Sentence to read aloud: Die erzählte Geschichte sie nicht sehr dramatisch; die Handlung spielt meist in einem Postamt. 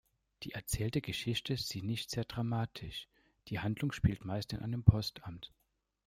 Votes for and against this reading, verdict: 0, 2, rejected